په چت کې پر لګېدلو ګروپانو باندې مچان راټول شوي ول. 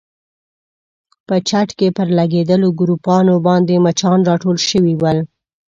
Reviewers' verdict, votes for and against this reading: accepted, 2, 0